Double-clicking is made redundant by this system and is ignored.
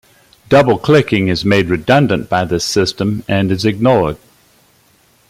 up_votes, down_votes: 2, 0